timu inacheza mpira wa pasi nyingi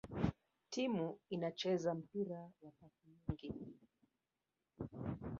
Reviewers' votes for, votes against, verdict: 1, 3, rejected